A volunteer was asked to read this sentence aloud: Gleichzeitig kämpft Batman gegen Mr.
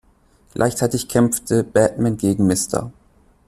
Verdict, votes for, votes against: rejected, 0, 2